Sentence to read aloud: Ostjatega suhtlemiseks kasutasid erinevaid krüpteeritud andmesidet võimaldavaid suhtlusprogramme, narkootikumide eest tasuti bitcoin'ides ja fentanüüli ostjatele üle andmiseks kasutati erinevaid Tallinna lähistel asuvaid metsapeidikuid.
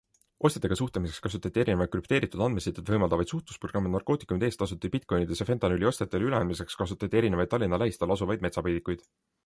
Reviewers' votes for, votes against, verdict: 2, 1, accepted